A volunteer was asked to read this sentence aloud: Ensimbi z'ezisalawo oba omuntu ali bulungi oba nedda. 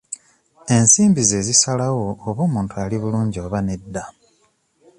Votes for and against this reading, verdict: 2, 0, accepted